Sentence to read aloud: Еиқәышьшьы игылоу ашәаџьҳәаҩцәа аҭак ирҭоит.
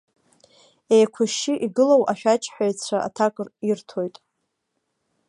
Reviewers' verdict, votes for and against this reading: accepted, 2, 0